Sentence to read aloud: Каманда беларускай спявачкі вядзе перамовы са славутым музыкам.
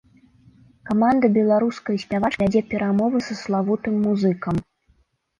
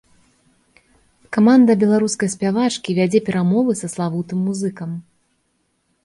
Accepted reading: second